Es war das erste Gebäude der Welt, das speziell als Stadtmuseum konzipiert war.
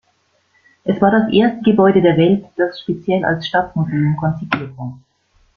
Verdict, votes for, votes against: rejected, 1, 2